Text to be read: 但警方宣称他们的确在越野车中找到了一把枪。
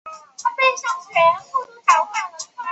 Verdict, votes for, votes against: rejected, 1, 2